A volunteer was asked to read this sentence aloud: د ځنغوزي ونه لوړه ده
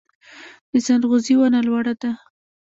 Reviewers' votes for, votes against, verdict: 0, 2, rejected